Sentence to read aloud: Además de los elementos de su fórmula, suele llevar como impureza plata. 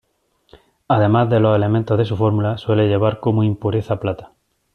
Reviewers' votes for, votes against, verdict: 2, 0, accepted